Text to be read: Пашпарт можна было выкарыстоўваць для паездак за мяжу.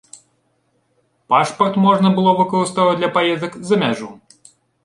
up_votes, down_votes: 1, 2